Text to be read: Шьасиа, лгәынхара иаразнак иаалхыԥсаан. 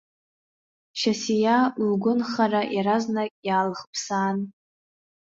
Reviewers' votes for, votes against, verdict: 2, 1, accepted